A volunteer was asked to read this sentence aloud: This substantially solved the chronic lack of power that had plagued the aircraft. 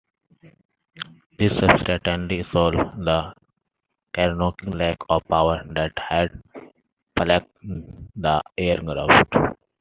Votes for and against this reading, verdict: 1, 2, rejected